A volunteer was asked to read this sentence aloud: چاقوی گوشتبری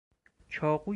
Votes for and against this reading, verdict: 0, 4, rejected